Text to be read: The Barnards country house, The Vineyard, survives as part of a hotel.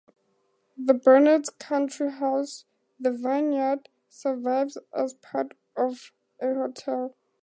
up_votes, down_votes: 2, 0